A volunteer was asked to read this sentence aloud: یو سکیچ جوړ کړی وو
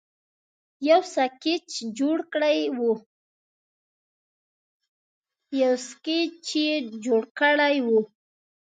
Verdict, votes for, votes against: rejected, 0, 2